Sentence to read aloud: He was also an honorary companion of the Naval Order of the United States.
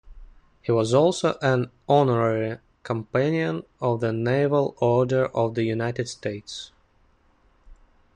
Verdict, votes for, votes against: accepted, 2, 0